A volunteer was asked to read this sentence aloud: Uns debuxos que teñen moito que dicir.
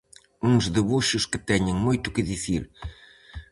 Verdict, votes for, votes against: accepted, 4, 0